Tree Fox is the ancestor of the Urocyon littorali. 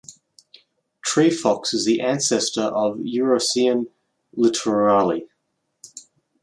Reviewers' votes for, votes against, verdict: 2, 0, accepted